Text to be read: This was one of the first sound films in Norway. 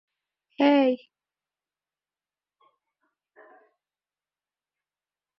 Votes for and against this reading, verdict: 0, 2, rejected